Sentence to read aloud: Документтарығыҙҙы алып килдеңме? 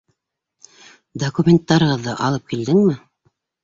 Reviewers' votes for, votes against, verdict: 2, 0, accepted